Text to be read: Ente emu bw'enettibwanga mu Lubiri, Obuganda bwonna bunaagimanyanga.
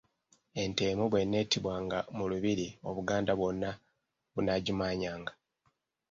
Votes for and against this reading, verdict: 1, 2, rejected